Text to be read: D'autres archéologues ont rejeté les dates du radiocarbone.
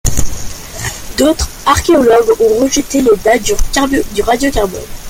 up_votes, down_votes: 1, 2